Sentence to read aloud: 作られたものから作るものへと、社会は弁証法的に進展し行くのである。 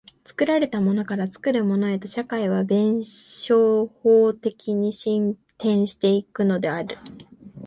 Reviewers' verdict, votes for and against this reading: rejected, 1, 2